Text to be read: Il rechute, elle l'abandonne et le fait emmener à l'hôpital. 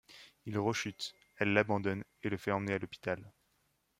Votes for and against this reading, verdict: 2, 0, accepted